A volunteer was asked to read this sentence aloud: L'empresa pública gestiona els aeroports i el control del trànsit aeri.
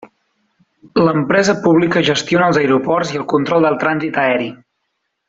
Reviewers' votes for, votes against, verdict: 3, 1, accepted